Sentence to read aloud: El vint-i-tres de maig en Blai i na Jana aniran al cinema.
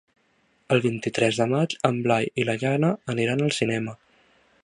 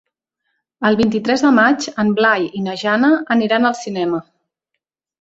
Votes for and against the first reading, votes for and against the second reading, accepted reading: 0, 2, 3, 0, second